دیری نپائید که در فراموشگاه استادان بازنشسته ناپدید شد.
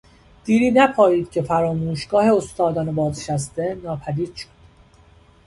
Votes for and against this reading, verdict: 1, 2, rejected